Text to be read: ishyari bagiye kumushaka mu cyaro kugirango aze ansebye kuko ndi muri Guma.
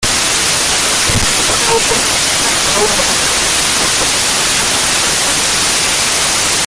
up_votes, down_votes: 0, 2